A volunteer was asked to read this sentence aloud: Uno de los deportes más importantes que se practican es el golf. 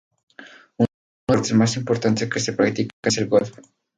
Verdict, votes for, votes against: rejected, 2, 2